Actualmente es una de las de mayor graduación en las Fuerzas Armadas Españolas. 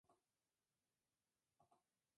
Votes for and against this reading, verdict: 0, 2, rejected